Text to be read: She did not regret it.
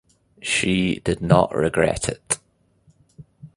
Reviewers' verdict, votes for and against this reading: accepted, 2, 0